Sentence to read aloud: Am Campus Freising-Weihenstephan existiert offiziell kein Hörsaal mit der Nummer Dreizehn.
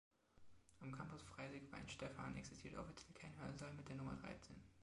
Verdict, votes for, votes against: accepted, 2, 1